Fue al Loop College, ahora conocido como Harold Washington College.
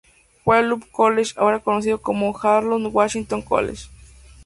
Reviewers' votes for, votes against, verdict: 4, 0, accepted